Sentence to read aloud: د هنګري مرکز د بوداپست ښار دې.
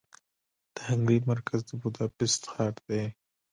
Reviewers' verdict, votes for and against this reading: rejected, 1, 2